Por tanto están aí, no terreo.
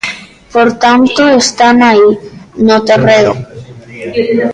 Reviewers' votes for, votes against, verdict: 1, 2, rejected